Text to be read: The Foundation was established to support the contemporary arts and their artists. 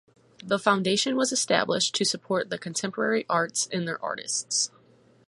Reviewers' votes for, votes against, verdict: 4, 0, accepted